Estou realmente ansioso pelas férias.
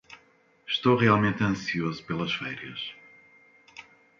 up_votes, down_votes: 2, 0